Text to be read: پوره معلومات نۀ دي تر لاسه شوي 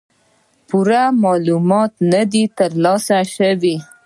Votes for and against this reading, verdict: 2, 0, accepted